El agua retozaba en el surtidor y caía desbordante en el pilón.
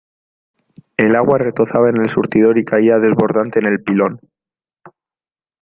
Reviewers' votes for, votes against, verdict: 2, 0, accepted